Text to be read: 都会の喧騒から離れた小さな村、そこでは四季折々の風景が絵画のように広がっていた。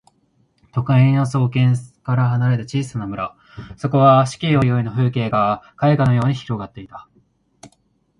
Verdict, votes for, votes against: rejected, 1, 2